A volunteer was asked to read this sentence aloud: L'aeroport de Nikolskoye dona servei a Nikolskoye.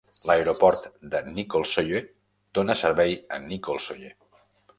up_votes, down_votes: 1, 2